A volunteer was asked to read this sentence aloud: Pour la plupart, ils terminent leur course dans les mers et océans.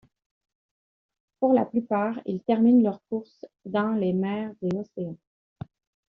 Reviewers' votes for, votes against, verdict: 1, 2, rejected